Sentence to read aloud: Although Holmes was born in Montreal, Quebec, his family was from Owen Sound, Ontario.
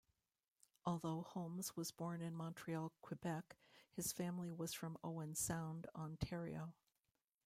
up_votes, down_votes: 1, 2